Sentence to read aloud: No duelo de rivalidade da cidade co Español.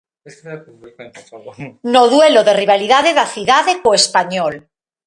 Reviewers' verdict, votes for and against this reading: rejected, 1, 2